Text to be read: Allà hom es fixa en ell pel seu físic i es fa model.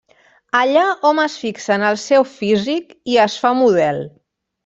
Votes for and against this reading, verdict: 0, 2, rejected